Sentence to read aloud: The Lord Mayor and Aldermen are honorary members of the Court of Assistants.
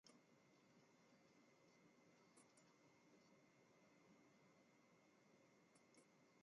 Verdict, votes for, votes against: rejected, 0, 2